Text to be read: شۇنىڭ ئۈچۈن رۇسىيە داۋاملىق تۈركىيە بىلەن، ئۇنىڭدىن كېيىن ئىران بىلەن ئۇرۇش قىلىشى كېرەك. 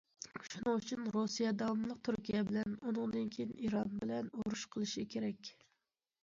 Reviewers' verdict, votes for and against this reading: accepted, 2, 0